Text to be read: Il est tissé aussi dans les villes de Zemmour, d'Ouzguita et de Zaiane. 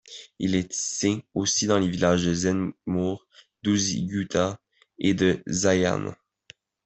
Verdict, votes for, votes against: rejected, 1, 2